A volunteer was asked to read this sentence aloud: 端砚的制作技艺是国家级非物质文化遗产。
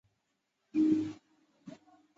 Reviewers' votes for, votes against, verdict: 0, 2, rejected